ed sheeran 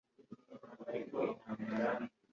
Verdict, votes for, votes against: rejected, 0, 2